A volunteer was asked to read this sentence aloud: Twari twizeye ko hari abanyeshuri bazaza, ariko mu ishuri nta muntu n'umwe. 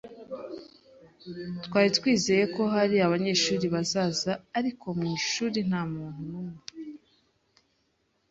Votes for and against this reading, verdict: 2, 0, accepted